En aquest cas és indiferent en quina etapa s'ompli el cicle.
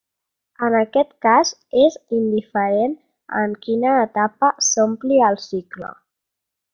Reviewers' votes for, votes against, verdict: 3, 0, accepted